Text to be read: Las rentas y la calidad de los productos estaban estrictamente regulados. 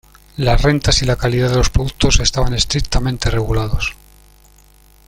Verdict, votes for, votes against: accepted, 2, 0